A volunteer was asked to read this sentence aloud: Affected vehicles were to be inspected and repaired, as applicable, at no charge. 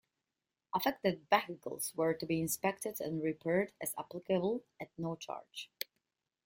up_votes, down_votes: 1, 2